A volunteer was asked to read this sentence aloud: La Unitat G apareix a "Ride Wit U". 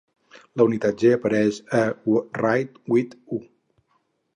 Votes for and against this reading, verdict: 0, 2, rejected